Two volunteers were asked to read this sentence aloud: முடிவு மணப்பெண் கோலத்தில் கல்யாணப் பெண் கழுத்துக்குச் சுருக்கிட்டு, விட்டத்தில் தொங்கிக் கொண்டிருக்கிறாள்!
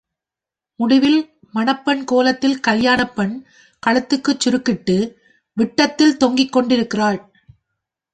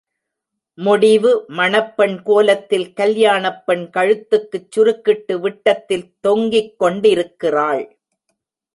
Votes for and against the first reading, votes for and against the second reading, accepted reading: 0, 2, 2, 0, second